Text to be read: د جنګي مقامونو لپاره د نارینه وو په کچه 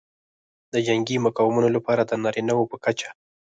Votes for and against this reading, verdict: 0, 4, rejected